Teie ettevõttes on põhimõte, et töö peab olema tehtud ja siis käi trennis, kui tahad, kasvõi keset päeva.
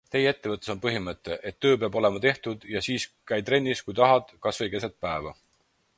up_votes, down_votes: 4, 0